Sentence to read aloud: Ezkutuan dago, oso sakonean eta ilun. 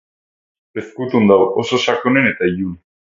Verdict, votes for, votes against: accepted, 2, 0